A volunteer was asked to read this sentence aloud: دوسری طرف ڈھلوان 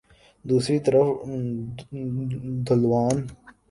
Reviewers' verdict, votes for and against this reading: rejected, 1, 2